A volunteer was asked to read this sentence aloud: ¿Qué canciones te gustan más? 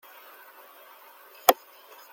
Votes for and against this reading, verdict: 0, 2, rejected